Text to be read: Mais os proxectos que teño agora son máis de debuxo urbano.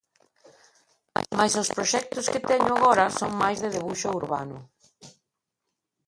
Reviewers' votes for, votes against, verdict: 1, 2, rejected